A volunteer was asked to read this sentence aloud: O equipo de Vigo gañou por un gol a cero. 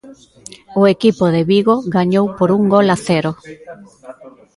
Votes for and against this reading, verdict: 1, 2, rejected